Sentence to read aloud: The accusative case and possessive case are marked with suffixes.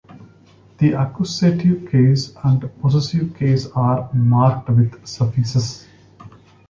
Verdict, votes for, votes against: accepted, 2, 1